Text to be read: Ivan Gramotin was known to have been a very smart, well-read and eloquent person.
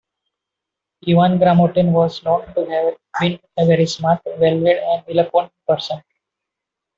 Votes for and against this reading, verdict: 2, 1, accepted